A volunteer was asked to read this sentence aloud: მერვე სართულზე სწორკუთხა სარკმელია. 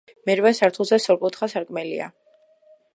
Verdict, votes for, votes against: rejected, 1, 2